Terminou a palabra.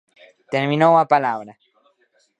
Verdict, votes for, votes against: accepted, 2, 0